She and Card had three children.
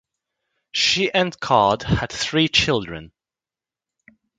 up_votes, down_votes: 3, 0